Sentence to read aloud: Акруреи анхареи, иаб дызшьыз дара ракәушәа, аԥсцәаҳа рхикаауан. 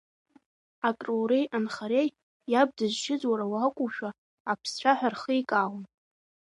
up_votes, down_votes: 0, 2